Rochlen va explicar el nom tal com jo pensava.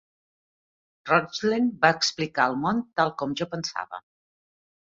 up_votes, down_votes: 2, 1